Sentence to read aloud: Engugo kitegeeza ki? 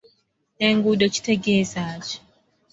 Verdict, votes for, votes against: rejected, 0, 2